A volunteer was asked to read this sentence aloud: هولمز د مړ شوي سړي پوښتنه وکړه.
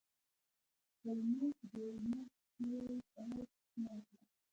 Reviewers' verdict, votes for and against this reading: rejected, 0, 2